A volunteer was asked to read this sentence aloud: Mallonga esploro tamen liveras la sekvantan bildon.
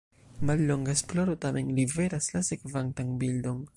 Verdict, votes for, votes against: accepted, 2, 1